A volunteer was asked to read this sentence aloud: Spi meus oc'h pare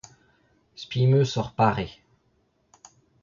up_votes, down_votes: 0, 2